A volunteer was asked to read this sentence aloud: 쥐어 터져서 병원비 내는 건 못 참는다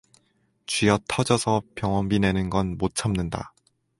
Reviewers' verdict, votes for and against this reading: accepted, 4, 0